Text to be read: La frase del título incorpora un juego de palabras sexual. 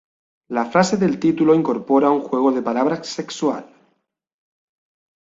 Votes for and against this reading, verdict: 2, 0, accepted